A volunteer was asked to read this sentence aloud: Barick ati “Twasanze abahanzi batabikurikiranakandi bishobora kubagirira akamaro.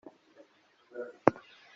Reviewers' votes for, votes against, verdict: 0, 2, rejected